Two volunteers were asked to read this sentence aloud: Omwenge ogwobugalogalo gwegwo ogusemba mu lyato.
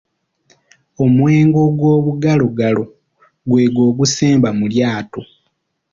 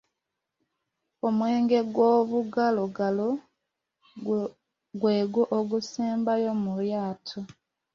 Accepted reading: first